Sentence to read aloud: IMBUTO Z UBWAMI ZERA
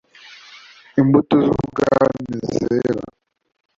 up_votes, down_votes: 1, 2